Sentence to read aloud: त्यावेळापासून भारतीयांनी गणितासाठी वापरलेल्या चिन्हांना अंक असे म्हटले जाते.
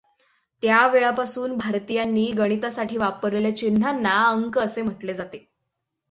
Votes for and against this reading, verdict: 6, 0, accepted